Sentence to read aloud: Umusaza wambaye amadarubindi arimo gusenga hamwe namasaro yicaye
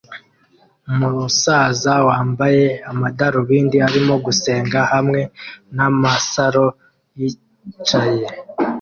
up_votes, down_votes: 2, 0